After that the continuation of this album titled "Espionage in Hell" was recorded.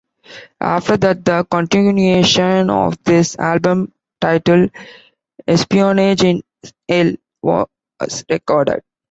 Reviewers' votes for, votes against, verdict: 2, 0, accepted